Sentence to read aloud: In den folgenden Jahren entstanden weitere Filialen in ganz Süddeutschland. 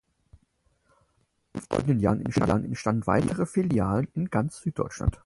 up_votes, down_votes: 0, 4